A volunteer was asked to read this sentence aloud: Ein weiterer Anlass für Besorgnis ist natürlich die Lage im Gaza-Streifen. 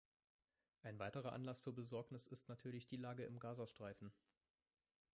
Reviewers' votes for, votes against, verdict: 2, 1, accepted